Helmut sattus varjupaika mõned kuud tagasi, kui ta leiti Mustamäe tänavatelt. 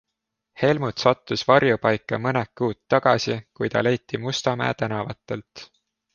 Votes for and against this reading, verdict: 2, 0, accepted